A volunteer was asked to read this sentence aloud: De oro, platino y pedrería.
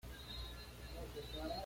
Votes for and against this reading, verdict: 1, 2, rejected